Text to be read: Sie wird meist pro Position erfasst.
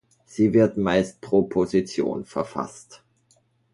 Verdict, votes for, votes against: rejected, 0, 2